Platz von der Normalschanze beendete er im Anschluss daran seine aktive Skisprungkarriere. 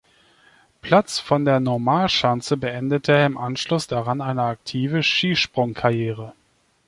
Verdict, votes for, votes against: rejected, 0, 2